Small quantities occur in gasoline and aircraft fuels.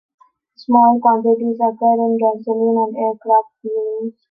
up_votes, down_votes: 2, 0